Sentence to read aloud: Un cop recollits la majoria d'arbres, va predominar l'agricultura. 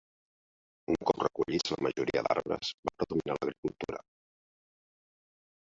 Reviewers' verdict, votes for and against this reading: rejected, 1, 2